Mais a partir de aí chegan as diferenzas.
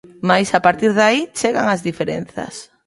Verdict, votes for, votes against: rejected, 1, 2